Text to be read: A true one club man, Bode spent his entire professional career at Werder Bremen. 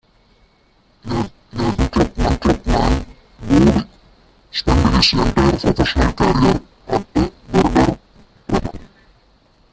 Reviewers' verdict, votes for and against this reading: rejected, 0, 2